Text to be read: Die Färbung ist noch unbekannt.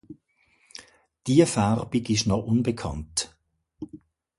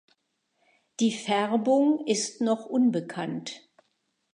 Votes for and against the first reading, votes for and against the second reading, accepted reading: 1, 2, 2, 0, second